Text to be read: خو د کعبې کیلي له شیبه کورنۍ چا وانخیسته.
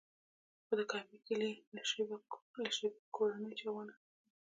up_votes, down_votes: 0, 2